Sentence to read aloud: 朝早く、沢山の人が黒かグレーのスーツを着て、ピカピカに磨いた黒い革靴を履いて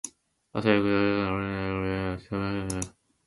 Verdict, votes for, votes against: rejected, 1, 2